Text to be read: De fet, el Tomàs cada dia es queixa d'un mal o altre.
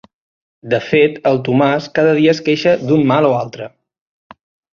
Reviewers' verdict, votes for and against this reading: accepted, 3, 0